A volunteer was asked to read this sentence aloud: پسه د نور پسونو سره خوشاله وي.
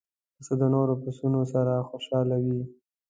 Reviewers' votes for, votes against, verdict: 2, 0, accepted